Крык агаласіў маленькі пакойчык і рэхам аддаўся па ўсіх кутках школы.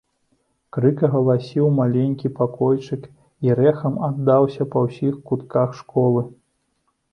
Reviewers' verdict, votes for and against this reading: accepted, 2, 0